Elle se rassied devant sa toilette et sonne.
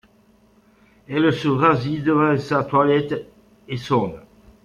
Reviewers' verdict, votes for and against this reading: rejected, 0, 2